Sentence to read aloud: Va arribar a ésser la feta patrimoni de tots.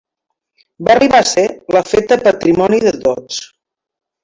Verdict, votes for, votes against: rejected, 1, 2